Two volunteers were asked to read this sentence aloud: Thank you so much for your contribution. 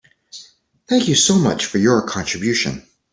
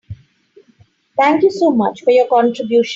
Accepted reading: first